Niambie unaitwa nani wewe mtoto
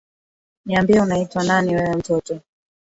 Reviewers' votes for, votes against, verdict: 1, 2, rejected